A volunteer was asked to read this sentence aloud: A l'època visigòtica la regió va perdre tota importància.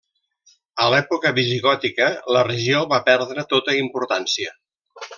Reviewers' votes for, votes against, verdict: 2, 1, accepted